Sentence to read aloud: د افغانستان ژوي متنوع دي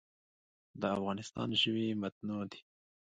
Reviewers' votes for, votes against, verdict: 1, 2, rejected